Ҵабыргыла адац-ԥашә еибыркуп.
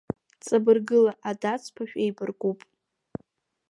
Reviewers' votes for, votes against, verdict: 0, 2, rejected